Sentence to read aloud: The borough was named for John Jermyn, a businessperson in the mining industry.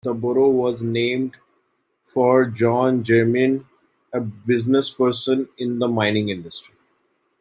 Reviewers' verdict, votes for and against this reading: accepted, 2, 1